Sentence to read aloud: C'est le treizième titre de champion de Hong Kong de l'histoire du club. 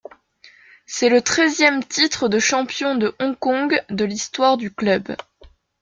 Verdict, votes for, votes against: accepted, 2, 0